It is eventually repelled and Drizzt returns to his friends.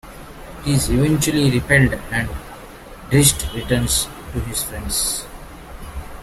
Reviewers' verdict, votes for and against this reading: accepted, 2, 1